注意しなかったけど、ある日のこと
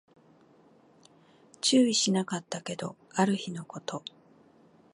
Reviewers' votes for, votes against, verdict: 2, 0, accepted